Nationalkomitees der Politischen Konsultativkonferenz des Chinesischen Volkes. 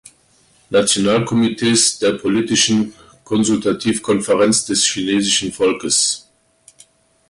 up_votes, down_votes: 2, 0